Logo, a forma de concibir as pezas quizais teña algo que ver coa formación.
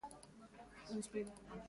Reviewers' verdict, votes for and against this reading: rejected, 0, 2